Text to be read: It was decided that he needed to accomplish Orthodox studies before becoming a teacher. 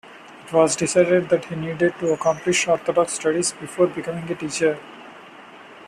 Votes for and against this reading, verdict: 2, 0, accepted